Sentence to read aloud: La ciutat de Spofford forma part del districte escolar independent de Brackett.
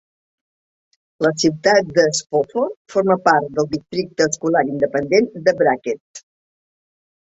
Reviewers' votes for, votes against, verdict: 1, 2, rejected